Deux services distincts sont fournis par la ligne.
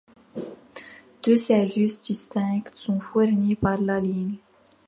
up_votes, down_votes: 1, 2